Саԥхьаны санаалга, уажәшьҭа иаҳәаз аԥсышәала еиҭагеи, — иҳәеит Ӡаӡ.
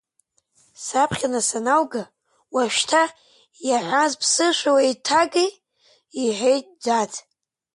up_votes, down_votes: 0, 2